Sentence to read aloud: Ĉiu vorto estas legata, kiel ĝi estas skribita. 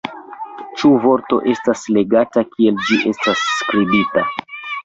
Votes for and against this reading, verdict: 0, 2, rejected